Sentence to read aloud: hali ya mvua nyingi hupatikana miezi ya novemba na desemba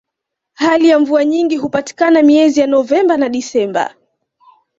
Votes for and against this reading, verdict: 2, 1, accepted